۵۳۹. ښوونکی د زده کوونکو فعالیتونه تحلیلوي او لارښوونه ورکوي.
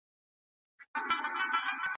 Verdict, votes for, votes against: rejected, 0, 2